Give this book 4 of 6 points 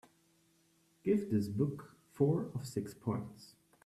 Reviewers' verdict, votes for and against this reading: rejected, 0, 2